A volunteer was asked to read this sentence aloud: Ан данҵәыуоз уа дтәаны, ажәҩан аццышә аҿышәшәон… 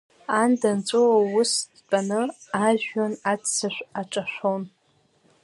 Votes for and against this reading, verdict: 1, 2, rejected